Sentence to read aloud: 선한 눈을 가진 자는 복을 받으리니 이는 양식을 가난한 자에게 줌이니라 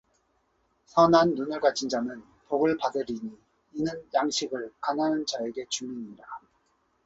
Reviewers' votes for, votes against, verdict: 2, 0, accepted